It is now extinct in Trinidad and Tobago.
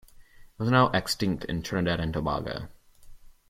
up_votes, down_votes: 0, 2